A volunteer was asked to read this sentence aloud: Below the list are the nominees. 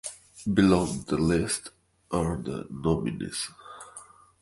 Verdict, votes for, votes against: accepted, 2, 0